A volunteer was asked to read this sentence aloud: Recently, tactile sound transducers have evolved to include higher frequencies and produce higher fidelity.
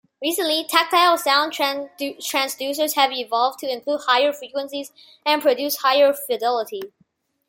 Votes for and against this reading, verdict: 1, 3, rejected